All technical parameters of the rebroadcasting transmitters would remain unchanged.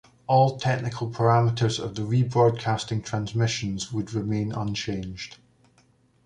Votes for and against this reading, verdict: 0, 3, rejected